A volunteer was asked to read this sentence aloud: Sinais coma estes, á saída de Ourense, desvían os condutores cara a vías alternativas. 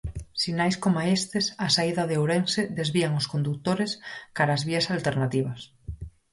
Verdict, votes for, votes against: rejected, 0, 4